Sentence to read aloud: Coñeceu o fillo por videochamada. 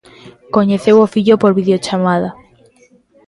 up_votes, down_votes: 1, 2